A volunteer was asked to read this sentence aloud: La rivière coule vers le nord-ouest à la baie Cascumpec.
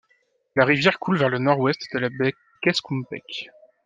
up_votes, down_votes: 1, 2